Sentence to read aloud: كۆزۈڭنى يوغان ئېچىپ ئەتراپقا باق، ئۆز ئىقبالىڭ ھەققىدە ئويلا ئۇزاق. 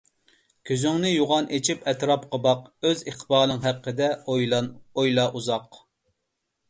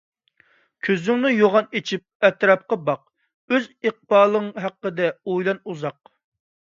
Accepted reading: second